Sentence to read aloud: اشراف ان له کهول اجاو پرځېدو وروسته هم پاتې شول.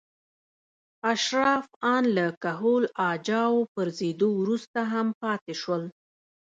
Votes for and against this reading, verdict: 1, 2, rejected